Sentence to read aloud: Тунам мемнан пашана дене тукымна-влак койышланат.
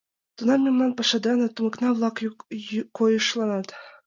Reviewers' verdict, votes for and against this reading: rejected, 1, 2